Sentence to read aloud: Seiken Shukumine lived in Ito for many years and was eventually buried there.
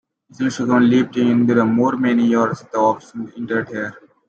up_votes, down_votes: 0, 2